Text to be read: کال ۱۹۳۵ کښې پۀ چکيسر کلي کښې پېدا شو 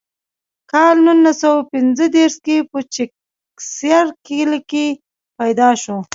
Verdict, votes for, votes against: rejected, 0, 2